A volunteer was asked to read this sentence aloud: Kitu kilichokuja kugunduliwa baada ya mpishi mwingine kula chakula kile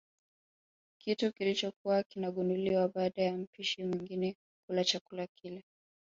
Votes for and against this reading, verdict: 2, 3, rejected